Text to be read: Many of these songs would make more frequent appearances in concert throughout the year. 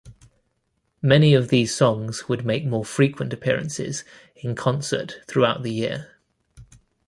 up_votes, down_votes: 2, 0